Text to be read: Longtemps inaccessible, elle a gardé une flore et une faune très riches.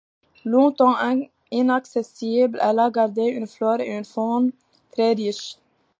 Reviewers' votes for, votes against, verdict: 1, 2, rejected